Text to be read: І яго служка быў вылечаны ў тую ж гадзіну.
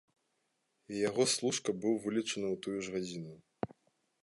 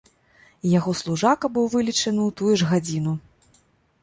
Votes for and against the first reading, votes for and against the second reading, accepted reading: 2, 0, 0, 2, first